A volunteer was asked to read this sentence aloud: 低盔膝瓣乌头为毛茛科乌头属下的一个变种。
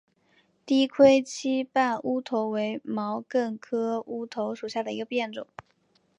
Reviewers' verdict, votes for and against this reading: accepted, 3, 0